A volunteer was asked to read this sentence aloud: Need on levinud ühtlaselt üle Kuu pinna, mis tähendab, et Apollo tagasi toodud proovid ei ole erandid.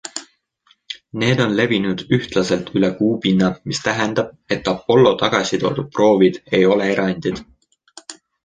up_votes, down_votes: 2, 0